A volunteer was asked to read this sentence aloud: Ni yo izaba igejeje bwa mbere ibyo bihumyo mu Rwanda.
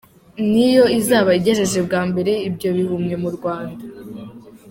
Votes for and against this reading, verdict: 2, 0, accepted